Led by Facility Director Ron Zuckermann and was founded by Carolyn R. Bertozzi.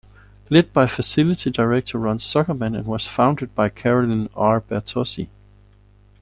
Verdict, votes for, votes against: accepted, 2, 0